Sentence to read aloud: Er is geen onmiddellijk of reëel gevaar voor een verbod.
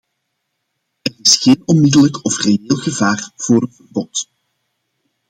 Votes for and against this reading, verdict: 0, 2, rejected